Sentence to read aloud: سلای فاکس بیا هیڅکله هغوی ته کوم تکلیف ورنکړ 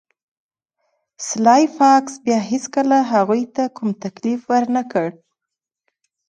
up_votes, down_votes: 2, 0